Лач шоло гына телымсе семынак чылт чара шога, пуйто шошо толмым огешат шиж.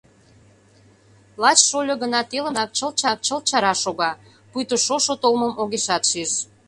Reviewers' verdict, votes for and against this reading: rejected, 0, 2